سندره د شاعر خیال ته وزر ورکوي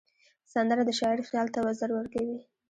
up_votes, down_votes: 1, 2